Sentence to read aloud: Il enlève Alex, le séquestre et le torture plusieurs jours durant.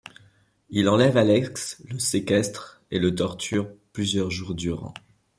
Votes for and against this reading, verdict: 1, 2, rejected